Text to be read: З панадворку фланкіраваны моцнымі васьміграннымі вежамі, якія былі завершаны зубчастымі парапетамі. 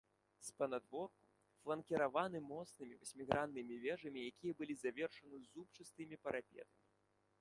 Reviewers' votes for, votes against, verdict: 2, 1, accepted